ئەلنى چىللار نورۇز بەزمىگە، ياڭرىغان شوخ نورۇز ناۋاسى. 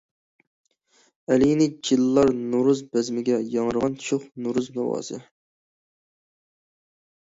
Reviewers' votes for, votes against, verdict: 0, 2, rejected